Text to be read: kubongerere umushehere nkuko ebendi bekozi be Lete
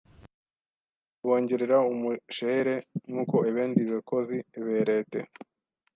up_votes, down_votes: 1, 2